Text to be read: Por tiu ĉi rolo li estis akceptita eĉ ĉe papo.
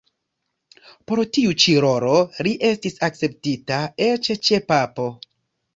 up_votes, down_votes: 1, 2